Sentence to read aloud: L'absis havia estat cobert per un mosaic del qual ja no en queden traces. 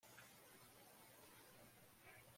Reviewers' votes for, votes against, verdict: 1, 2, rejected